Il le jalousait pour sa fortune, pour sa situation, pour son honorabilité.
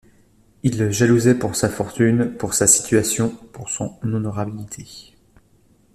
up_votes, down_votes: 2, 0